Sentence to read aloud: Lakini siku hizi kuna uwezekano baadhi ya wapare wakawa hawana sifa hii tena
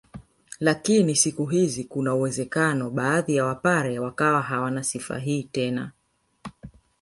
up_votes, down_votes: 2, 1